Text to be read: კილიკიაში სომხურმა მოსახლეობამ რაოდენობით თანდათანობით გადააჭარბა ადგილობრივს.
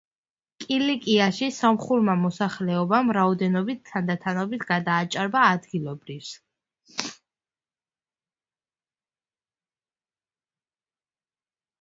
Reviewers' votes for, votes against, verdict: 1, 2, rejected